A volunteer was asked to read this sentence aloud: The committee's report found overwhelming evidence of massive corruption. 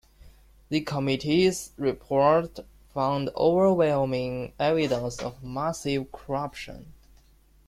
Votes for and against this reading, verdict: 2, 0, accepted